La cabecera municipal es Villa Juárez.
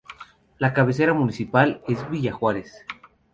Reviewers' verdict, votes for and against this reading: accepted, 2, 0